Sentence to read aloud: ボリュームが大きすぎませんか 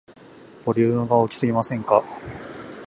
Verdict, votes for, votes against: accepted, 2, 0